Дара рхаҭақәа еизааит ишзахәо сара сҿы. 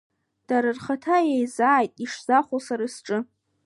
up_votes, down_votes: 0, 2